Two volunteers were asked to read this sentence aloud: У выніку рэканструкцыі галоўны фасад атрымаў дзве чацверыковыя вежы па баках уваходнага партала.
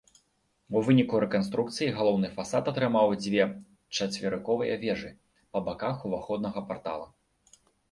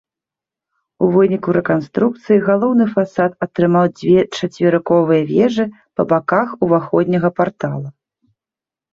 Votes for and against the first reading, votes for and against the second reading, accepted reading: 2, 1, 1, 2, first